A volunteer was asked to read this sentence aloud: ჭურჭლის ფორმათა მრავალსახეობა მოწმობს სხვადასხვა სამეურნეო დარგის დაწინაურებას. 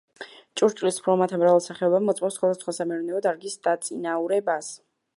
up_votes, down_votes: 0, 2